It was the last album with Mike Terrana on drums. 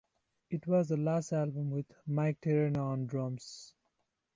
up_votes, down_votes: 0, 2